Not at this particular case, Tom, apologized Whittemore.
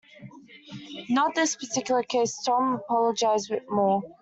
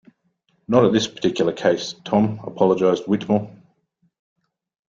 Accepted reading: second